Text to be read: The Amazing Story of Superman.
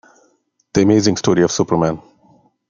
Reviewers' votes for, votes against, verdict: 0, 2, rejected